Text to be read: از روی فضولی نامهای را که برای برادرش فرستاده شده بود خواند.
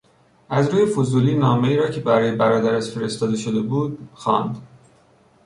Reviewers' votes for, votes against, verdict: 2, 0, accepted